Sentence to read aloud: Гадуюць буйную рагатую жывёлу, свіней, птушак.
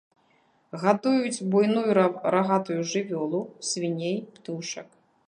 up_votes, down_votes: 0, 2